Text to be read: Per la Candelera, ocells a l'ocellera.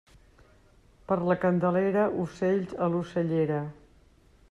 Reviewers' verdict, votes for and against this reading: accepted, 2, 0